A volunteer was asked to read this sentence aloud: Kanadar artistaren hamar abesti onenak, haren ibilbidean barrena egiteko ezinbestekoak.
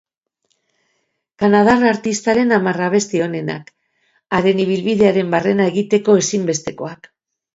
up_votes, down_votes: 0, 2